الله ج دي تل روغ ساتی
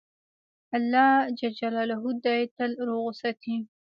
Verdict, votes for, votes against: rejected, 0, 2